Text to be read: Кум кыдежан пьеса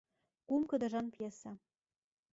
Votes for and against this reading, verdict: 1, 2, rejected